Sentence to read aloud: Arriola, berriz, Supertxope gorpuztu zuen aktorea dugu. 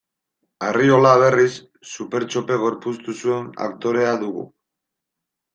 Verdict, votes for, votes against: rejected, 1, 2